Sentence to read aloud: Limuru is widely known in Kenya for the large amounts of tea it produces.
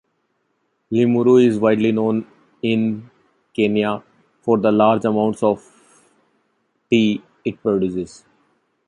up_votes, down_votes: 2, 0